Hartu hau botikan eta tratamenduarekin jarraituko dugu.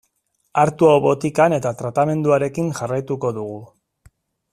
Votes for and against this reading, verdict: 2, 0, accepted